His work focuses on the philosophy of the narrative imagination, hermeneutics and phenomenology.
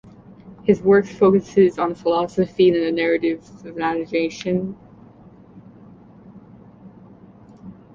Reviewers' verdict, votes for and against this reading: rejected, 0, 2